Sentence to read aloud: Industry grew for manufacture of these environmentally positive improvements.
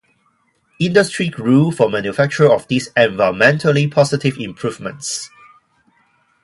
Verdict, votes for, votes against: accepted, 4, 0